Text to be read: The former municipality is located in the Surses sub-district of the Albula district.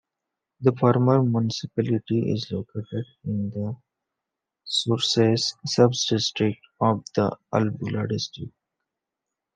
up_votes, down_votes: 2, 1